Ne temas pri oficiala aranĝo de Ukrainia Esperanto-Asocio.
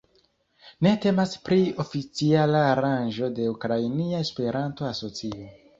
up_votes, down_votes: 2, 1